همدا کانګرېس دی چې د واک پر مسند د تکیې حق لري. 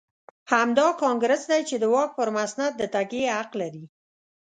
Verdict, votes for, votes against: accepted, 2, 0